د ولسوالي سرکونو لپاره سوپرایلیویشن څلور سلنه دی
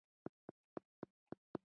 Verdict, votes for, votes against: rejected, 0, 2